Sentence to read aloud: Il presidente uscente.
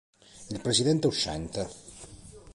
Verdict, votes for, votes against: accepted, 3, 0